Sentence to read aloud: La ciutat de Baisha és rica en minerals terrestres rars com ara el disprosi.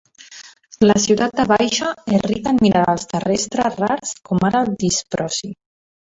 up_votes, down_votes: 3, 2